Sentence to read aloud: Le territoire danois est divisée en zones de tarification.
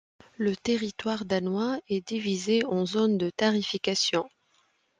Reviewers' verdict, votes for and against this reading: accepted, 2, 0